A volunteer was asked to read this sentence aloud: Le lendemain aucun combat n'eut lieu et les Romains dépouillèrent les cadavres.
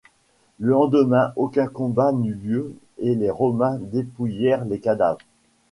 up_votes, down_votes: 2, 0